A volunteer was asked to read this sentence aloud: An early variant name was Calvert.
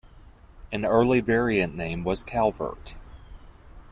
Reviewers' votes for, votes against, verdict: 2, 0, accepted